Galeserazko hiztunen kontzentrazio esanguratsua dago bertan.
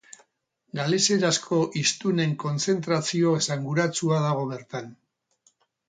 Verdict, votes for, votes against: accepted, 10, 0